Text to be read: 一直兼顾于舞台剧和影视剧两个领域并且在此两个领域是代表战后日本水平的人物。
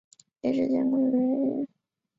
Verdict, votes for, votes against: rejected, 1, 2